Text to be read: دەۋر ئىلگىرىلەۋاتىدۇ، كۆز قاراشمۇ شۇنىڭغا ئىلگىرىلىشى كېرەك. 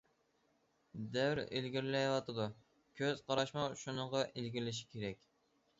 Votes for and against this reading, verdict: 2, 0, accepted